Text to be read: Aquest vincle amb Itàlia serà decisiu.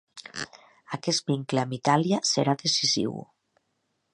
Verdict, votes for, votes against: accepted, 3, 0